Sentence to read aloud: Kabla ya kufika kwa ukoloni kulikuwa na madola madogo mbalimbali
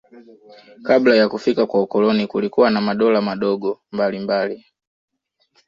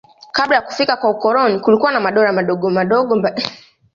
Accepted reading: first